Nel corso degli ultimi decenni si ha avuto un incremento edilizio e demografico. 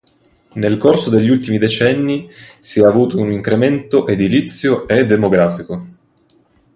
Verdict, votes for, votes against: accepted, 2, 0